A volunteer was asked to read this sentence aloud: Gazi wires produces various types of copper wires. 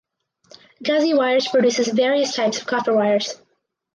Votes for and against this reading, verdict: 4, 0, accepted